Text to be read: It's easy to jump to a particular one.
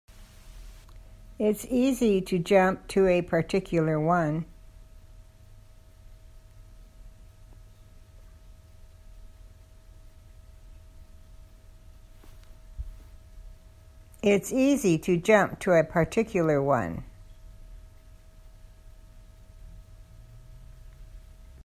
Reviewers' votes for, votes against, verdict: 0, 2, rejected